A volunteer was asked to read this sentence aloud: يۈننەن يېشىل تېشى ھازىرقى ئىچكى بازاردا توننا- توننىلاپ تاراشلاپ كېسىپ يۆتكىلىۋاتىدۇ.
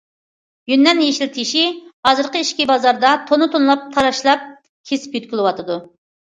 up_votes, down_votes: 2, 0